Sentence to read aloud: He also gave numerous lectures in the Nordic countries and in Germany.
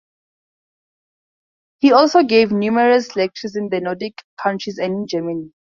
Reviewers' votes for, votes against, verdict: 2, 0, accepted